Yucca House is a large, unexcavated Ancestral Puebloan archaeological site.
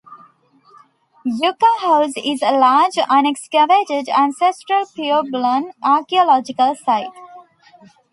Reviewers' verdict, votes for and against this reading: rejected, 0, 2